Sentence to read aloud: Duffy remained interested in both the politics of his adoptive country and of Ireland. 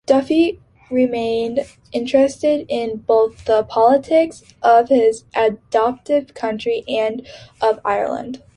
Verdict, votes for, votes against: accepted, 2, 1